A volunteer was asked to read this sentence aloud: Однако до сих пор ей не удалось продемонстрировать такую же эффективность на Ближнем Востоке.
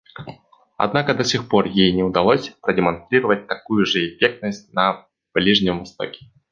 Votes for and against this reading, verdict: 1, 2, rejected